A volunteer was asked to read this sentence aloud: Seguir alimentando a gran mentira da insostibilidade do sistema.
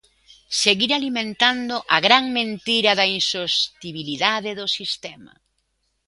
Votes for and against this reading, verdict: 2, 0, accepted